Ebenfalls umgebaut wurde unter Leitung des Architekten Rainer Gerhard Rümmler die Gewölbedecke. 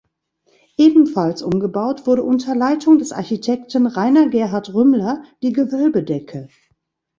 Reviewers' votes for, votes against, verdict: 1, 2, rejected